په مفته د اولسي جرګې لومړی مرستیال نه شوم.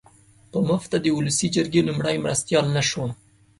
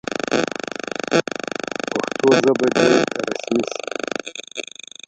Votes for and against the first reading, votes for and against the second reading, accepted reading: 2, 0, 0, 2, first